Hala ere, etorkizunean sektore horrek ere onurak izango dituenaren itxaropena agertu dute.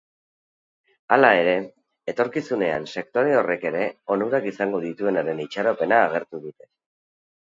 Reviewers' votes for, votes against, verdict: 2, 2, rejected